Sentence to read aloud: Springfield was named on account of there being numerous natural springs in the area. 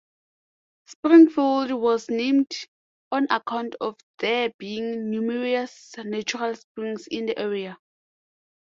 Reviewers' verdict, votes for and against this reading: rejected, 1, 2